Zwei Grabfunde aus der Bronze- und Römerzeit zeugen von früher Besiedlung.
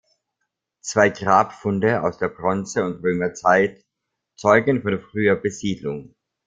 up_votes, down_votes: 2, 0